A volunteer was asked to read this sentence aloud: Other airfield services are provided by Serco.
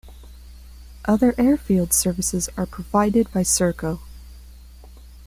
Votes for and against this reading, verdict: 2, 0, accepted